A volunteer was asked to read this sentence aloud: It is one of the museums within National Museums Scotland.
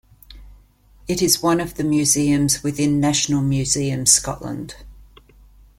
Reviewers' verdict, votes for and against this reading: accepted, 2, 0